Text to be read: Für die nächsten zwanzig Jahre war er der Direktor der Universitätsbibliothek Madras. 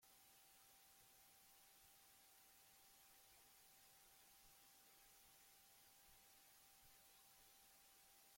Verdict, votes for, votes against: rejected, 0, 2